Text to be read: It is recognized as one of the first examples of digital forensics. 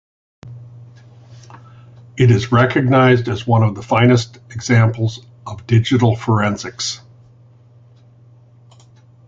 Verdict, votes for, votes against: rejected, 0, 2